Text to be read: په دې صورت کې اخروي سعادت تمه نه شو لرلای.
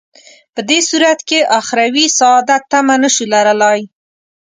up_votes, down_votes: 2, 0